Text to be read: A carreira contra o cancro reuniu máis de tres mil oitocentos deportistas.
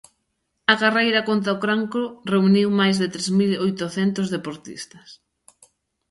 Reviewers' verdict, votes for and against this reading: rejected, 0, 2